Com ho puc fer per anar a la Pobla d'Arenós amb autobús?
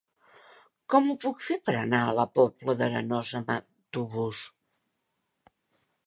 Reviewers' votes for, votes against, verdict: 3, 1, accepted